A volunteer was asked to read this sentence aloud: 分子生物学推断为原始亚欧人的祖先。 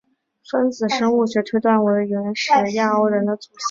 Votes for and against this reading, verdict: 5, 0, accepted